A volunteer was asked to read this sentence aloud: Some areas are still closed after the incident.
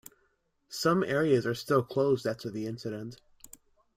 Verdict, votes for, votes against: accepted, 2, 0